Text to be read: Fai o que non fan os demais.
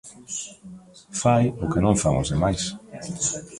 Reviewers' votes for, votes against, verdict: 2, 0, accepted